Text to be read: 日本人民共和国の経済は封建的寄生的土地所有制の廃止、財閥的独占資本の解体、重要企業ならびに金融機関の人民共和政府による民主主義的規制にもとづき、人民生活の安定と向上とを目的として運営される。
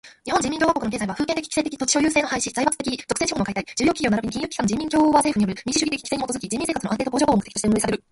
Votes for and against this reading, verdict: 2, 1, accepted